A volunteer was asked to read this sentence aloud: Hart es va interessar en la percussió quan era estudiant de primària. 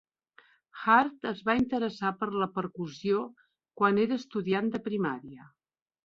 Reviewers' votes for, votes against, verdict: 1, 2, rejected